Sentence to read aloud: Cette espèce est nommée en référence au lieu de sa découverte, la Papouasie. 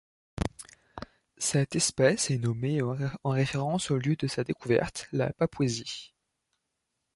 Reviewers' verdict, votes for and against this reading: rejected, 1, 2